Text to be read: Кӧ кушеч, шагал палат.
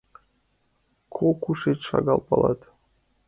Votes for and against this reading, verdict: 3, 2, accepted